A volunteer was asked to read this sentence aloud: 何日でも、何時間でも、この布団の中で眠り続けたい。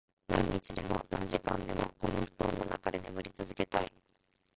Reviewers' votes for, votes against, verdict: 0, 2, rejected